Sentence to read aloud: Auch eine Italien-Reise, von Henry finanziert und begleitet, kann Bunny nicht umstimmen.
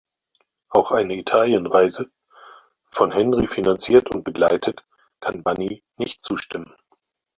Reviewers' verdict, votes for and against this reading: rejected, 0, 4